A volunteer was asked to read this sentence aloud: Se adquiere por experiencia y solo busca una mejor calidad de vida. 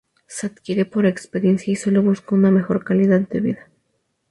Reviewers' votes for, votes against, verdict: 4, 0, accepted